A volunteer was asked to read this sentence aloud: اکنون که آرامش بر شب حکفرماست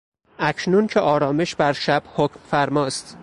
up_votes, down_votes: 4, 0